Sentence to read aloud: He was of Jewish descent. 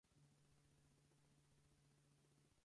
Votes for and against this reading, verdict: 0, 4, rejected